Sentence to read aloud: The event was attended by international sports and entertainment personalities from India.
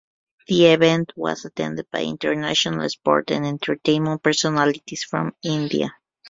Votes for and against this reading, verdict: 1, 2, rejected